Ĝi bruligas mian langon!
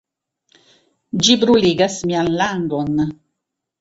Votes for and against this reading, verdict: 2, 0, accepted